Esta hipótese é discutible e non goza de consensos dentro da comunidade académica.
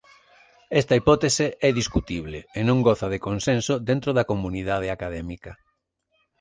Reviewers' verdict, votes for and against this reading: rejected, 0, 2